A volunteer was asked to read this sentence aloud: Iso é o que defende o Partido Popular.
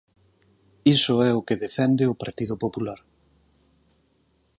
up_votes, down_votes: 4, 0